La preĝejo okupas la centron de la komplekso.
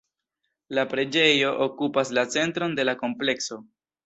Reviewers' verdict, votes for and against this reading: accepted, 2, 0